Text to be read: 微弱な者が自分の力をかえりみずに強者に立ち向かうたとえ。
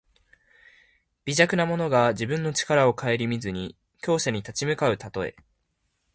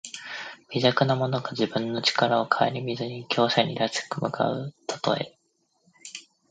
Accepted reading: first